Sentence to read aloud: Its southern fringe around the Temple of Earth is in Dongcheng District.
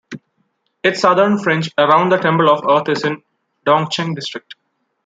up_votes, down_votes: 1, 2